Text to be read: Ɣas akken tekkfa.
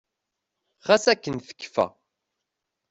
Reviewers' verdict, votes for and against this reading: accepted, 2, 0